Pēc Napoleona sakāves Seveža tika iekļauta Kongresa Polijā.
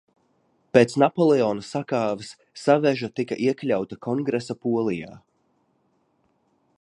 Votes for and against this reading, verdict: 0, 2, rejected